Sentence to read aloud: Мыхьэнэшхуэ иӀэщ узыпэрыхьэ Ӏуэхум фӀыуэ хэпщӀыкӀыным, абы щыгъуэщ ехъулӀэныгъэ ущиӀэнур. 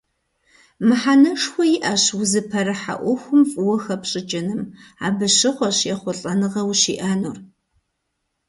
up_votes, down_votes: 2, 0